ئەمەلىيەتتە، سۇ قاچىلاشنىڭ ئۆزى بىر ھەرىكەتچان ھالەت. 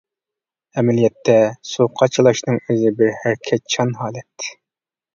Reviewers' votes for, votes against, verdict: 2, 0, accepted